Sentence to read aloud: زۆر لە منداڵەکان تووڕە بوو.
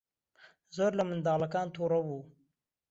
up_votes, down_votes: 2, 0